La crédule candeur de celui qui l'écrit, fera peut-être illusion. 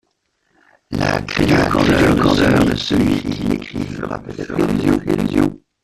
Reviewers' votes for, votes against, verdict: 0, 2, rejected